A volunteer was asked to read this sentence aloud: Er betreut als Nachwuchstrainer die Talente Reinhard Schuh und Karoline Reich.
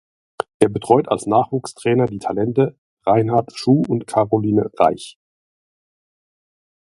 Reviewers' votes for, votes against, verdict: 2, 0, accepted